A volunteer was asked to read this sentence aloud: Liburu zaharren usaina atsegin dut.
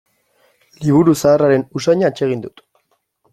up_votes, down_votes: 1, 2